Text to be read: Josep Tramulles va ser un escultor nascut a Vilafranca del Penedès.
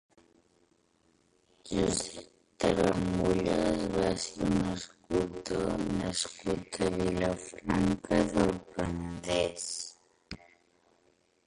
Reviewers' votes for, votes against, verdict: 0, 2, rejected